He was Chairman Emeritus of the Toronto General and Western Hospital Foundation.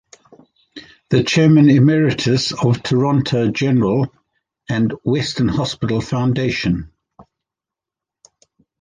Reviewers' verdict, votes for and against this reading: rejected, 0, 2